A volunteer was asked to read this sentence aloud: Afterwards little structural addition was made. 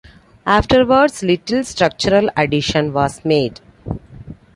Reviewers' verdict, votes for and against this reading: accepted, 2, 0